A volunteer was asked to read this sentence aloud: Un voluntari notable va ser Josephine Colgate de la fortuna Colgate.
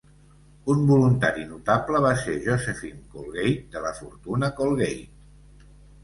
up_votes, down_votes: 2, 0